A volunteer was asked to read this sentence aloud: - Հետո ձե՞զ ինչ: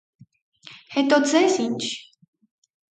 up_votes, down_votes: 4, 0